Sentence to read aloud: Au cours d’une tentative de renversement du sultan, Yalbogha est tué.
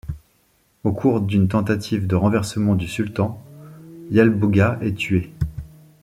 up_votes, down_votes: 2, 0